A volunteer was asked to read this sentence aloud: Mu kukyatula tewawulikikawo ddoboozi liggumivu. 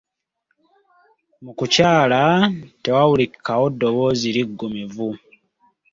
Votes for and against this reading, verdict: 0, 2, rejected